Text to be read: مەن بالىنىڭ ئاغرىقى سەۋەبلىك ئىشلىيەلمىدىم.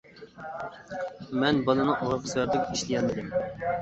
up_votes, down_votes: 0, 2